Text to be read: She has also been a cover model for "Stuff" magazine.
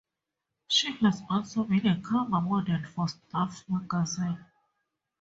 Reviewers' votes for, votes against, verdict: 4, 2, accepted